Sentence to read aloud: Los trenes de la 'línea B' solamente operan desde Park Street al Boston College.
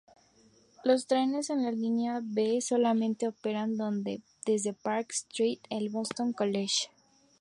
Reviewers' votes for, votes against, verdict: 0, 2, rejected